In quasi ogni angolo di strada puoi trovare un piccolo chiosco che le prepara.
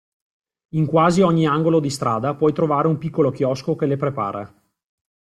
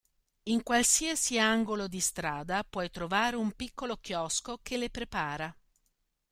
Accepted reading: first